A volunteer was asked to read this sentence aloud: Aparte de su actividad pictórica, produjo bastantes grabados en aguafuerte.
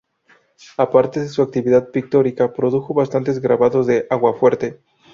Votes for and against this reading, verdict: 2, 2, rejected